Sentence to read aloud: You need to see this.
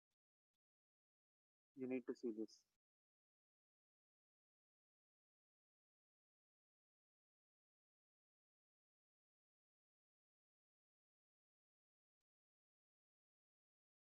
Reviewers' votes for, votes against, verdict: 0, 2, rejected